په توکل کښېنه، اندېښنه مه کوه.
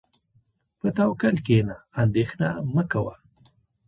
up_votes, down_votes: 2, 0